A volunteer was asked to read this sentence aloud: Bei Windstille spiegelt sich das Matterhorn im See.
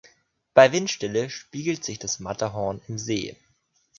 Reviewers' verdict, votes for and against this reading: accepted, 2, 0